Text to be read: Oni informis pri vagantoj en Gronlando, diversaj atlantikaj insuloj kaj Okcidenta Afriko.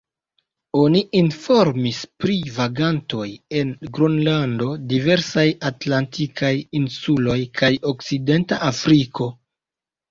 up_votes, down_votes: 2, 0